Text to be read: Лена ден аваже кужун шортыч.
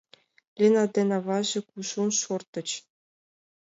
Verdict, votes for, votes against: accepted, 2, 0